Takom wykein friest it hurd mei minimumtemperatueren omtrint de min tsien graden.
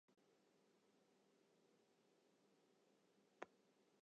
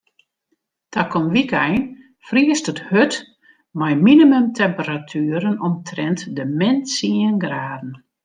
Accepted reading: second